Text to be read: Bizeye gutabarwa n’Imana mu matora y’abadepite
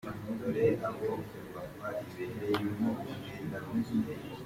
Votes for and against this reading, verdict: 0, 2, rejected